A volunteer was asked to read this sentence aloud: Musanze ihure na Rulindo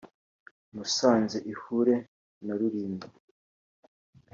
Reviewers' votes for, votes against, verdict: 3, 0, accepted